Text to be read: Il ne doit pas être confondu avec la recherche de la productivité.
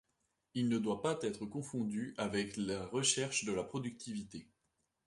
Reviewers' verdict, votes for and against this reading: rejected, 0, 2